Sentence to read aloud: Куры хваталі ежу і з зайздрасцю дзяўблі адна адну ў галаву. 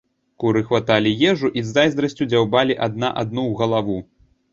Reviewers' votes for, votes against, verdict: 1, 2, rejected